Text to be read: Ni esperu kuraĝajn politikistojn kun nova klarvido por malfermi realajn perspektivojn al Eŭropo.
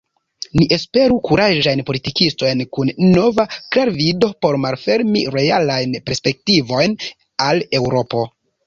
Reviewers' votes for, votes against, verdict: 0, 3, rejected